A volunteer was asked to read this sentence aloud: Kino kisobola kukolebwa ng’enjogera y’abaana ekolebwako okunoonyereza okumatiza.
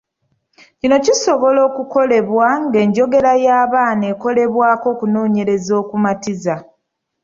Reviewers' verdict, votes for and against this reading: rejected, 0, 2